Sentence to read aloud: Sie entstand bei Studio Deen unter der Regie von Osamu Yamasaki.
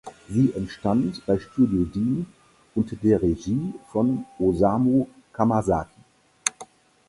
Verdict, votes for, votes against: rejected, 0, 4